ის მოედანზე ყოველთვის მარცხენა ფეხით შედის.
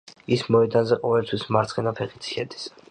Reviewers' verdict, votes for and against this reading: accepted, 2, 1